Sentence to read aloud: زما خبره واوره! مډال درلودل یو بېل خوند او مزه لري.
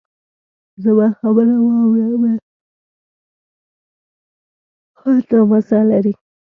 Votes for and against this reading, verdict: 1, 2, rejected